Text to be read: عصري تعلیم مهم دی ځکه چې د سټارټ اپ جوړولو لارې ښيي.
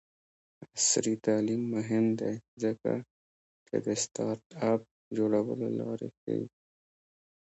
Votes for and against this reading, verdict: 1, 2, rejected